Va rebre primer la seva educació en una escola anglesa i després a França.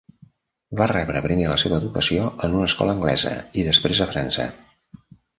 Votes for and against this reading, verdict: 2, 0, accepted